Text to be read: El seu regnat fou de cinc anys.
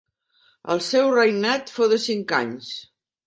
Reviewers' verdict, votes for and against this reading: rejected, 0, 2